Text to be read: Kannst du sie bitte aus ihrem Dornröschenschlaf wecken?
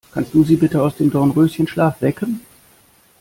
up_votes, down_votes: 0, 2